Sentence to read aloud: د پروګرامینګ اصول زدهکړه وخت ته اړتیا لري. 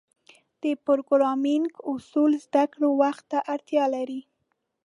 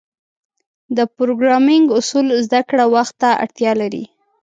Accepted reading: second